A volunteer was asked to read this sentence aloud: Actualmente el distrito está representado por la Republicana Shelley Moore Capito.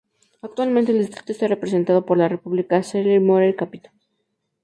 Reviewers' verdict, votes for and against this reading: accepted, 4, 0